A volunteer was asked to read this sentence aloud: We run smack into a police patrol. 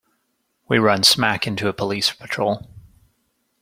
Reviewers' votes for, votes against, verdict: 2, 0, accepted